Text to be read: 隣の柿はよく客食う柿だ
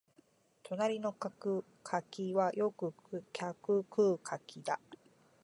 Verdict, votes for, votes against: accepted, 2, 1